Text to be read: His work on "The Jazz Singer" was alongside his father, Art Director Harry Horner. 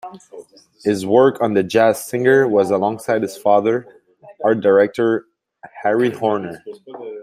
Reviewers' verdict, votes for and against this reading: rejected, 1, 2